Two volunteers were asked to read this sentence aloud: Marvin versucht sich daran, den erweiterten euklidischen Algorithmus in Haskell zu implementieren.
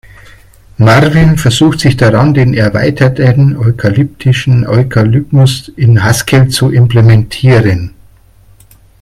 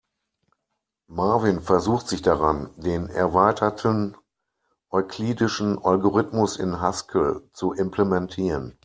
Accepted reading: second